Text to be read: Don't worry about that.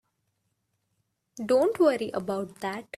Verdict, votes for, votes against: accepted, 2, 0